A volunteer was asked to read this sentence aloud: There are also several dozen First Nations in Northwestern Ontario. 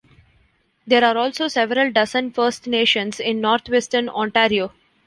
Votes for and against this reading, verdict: 2, 1, accepted